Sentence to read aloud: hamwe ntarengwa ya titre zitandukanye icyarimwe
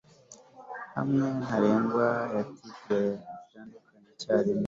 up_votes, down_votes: 0, 2